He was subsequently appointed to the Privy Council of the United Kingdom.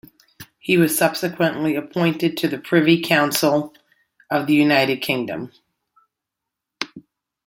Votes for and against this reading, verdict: 2, 0, accepted